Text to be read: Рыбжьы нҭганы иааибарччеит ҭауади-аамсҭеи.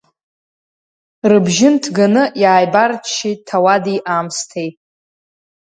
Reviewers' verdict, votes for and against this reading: accepted, 2, 0